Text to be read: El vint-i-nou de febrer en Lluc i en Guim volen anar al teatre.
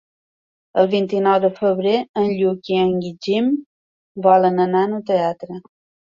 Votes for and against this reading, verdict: 0, 2, rejected